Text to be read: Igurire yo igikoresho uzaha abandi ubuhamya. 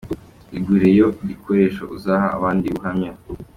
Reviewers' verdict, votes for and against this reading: rejected, 1, 2